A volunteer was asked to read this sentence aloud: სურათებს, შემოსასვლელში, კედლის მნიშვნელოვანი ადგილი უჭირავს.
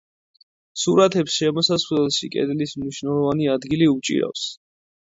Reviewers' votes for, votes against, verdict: 2, 0, accepted